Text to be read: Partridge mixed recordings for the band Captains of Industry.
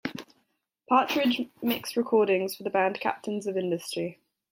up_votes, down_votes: 3, 1